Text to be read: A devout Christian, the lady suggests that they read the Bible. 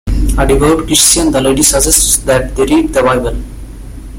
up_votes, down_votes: 0, 2